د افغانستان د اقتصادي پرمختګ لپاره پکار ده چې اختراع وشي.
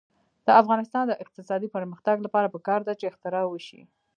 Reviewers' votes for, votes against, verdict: 0, 2, rejected